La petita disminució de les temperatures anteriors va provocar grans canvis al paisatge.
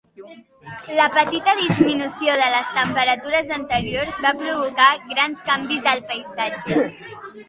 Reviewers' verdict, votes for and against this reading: accepted, 3, 0